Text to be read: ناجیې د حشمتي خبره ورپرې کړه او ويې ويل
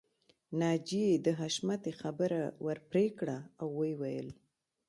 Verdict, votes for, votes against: accepted, 3, 0